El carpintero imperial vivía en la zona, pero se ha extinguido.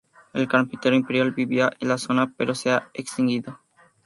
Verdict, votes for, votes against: accepted, 2, 0